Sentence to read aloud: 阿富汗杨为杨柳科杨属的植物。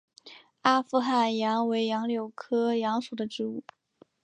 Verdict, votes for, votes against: accepted, 4, 0